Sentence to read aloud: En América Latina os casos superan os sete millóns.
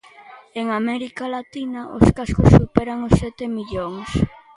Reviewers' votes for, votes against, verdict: 1, 2, rejected